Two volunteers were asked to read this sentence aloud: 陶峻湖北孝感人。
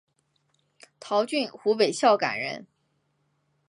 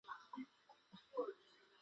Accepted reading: first